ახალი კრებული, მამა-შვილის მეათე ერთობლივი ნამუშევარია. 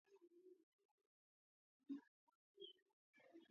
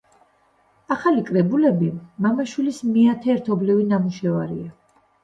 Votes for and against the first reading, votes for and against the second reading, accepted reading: 0, 2, 2, 0, second